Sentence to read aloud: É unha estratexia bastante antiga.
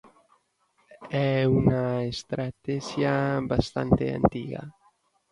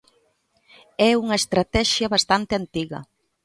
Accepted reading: second